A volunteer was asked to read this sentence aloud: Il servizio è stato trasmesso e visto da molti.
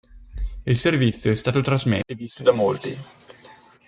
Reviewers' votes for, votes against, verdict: 0, 2, rejected